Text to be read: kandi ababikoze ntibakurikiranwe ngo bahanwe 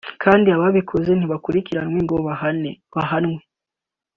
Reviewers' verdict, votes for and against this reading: rejected, 1, 2